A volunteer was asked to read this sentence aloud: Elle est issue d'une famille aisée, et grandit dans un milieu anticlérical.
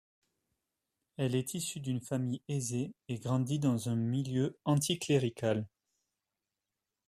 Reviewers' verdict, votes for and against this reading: accepted, 2, 0